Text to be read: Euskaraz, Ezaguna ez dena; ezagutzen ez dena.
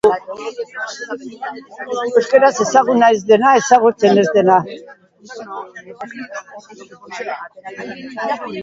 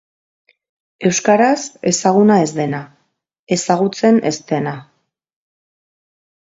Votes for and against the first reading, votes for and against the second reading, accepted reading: 0, 2, 2, 0, second